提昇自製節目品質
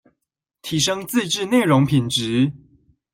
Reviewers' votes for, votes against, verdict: 0, 2, rejected